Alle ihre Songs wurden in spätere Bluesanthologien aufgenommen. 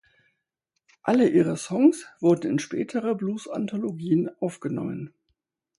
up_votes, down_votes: 4, 0